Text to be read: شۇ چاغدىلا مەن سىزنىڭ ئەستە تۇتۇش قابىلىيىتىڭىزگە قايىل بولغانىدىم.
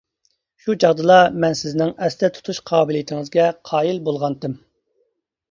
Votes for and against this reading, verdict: 0, 2, rejected